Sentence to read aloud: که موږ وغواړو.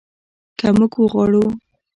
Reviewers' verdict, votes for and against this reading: rejected, 1, 2